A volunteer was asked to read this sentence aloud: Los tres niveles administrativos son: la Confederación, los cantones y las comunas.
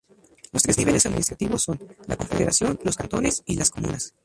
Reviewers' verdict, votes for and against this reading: rejected, 0, 2